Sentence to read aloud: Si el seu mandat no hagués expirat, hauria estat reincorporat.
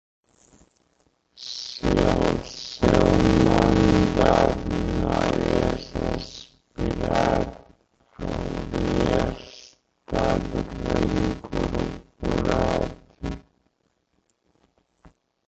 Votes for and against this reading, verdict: 0, 2, rejected